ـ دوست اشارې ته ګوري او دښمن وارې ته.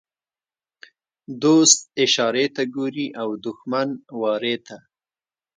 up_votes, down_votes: 1, 2